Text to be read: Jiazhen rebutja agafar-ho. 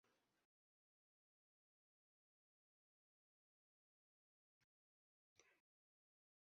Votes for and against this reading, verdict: 1, 2, rejected